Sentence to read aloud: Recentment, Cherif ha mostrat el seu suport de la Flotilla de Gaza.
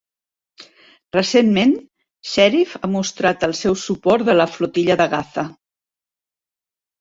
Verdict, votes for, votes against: rejected, 0, 2